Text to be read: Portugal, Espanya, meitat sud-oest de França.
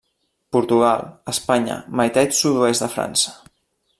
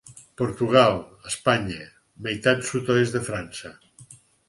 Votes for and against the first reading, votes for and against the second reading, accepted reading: 1, 2, 4, 0, second